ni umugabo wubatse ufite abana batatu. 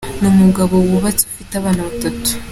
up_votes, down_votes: 3, 1